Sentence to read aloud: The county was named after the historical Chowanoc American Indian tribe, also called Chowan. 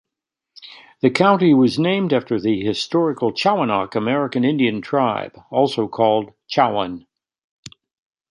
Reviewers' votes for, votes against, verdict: 2, 0, accepted